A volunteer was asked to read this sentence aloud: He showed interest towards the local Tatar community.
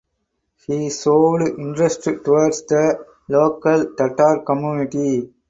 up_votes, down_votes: 2, 0